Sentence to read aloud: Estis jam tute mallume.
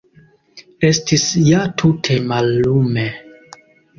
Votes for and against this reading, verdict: 1, 2, rejected